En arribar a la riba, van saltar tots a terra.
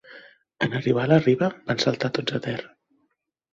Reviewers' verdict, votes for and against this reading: accepted, 2, 0